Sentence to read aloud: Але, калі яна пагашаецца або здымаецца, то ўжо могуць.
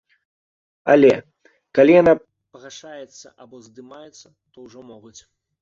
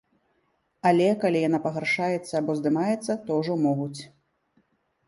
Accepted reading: first